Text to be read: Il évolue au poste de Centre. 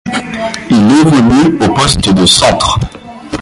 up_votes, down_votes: 0, 2